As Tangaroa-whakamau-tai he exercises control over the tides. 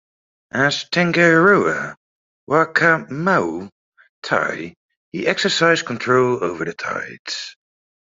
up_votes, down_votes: 2, 1